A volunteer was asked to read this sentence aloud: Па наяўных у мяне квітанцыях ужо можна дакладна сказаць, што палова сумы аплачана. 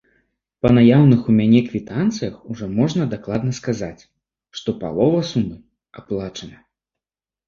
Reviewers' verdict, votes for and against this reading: accepted, 3, 0